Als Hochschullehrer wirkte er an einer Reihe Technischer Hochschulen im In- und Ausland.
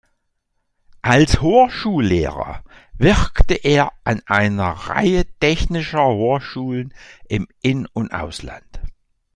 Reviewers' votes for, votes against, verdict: 1, 2, rejected